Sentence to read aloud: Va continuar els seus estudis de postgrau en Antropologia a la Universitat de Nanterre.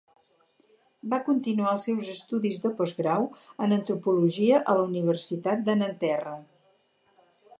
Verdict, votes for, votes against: accepted, 8, 0